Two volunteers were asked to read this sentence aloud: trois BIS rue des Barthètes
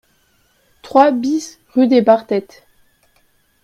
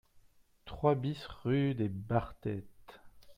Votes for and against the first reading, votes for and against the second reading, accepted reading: 2, 0, 1, 2, first